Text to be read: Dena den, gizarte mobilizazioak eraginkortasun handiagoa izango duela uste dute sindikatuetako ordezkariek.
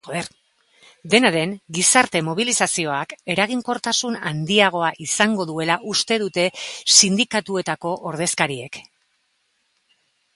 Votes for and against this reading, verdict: 1, 3, rejected